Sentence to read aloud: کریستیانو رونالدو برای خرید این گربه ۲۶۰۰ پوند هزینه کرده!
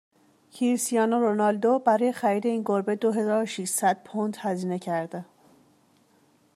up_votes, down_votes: 0, 2